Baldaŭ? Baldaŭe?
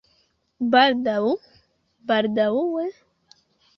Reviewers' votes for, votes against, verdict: 1, 2, rejected